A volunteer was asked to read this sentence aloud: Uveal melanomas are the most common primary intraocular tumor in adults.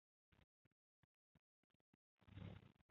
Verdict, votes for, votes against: rejected, 0, 2